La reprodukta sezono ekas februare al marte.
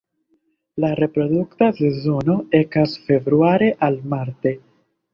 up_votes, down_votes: 3, 0